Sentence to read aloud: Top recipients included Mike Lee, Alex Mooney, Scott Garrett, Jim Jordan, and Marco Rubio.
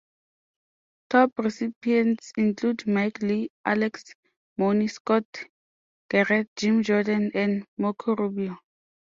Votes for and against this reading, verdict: 0, 2, rejected